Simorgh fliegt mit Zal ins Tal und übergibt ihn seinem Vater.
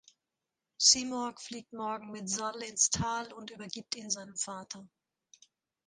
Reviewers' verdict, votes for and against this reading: rejected, 0, 2